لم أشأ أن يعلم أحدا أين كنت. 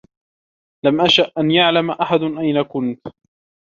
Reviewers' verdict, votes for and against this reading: accepted, 2, 1